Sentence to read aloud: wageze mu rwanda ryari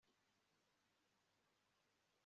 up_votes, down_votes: 0, 2